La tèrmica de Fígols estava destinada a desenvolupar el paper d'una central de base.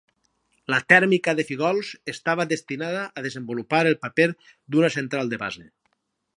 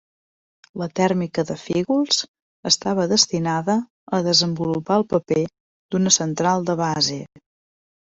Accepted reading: second